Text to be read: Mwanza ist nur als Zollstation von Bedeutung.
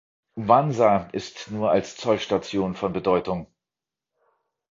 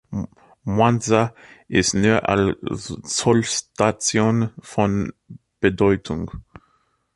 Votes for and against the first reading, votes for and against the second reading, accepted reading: 2, 0, 1, 2, first